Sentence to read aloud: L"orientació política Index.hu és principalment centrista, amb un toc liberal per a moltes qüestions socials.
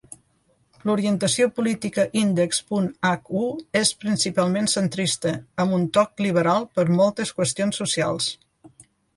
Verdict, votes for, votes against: rejected, 2, 3